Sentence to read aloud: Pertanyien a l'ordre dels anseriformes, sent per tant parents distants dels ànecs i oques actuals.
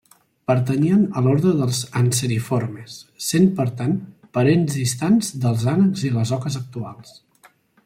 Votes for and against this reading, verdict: 2, 0, accepted